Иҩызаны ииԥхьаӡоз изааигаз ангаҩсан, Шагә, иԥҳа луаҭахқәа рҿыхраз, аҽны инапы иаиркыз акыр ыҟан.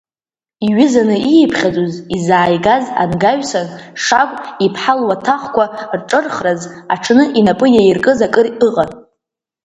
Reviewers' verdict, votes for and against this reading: rejected, 0, 2